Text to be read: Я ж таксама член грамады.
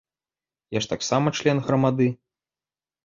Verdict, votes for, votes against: accepted, 2, 0